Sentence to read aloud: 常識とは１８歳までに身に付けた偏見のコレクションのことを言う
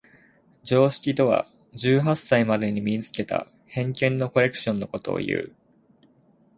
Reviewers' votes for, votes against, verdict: 0, 2, rejected